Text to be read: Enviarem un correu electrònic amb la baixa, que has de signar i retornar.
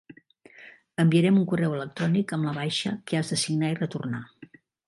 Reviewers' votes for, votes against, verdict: 2, 0, accepted